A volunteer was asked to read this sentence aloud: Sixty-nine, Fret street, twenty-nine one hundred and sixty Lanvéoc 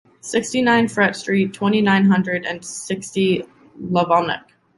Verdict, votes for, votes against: rejected, 1, 2